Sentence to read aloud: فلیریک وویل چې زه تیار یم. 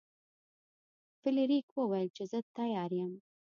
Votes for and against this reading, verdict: 2, 0, accepted